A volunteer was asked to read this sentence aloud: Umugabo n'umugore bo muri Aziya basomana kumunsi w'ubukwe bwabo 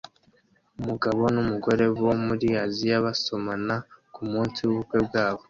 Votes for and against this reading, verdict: 2, 0, accepted